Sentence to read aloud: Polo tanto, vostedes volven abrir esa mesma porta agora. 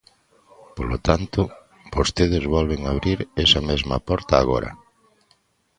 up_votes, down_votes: 2, 0